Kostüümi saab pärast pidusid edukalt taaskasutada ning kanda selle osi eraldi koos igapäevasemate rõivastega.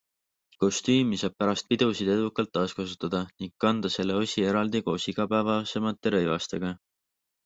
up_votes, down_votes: 2, 1